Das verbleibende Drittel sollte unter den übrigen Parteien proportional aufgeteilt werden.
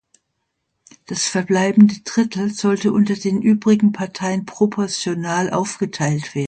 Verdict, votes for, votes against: rejected, 1, 2